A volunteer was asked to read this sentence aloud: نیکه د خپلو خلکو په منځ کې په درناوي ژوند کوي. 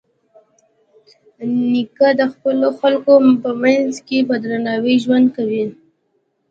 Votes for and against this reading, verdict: 2, 0, accepted